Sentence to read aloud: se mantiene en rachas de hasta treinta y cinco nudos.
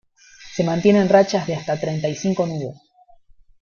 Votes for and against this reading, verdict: 1, 2, rejected